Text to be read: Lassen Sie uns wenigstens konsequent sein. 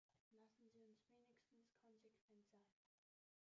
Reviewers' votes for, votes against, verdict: 1, 3, rejected